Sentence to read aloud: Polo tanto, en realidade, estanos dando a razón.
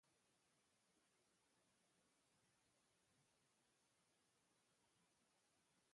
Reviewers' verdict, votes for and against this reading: rejected, 0, 2